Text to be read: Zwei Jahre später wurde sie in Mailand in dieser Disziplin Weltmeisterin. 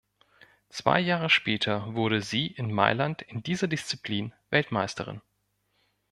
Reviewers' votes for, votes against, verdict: 2, 0, accepted